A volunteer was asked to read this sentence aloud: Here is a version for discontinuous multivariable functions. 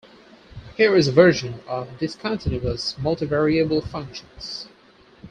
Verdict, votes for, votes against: rejected, 2, 4